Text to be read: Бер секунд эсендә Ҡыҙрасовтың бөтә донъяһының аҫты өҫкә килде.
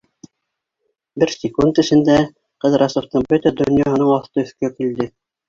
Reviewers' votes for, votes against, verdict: 1, 2, rejected